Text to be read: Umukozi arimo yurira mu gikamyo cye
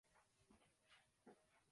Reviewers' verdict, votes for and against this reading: rejected, 0, 2